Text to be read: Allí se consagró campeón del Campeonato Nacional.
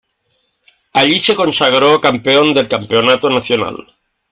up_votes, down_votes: 2, 0